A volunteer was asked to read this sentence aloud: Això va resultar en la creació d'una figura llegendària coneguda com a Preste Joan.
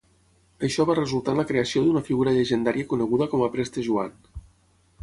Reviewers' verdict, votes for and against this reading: accepted, 6, 0